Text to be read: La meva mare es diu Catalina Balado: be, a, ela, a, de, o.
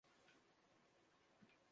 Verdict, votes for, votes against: rejected, 0, 2